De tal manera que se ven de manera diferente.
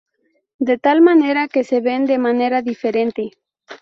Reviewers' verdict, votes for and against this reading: rejected, 2, 2